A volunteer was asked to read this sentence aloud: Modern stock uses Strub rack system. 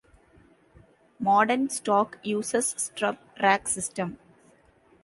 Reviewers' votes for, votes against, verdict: 2, 0, accepted